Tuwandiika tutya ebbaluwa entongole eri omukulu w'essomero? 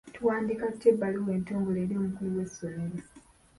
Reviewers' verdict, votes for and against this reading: accepted, 2, 0